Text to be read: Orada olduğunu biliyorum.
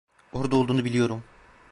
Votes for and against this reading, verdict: 1, 2, rejected